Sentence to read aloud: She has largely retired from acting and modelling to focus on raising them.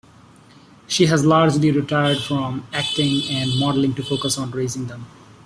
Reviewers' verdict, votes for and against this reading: accepted, 2, 0